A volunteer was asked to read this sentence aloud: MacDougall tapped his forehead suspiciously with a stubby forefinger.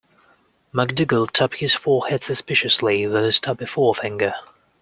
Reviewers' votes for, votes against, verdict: 2, 1, accepted